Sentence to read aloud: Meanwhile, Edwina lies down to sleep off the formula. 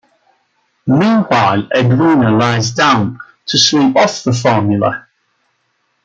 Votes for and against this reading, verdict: 2, 1, accepted